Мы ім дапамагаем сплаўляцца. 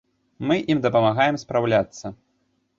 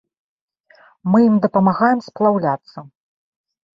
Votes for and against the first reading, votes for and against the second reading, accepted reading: 0, 2, 2, 0, second